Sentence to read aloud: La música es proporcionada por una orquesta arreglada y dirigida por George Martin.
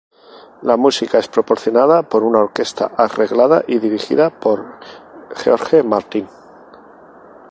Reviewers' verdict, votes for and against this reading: accepted, 2, 0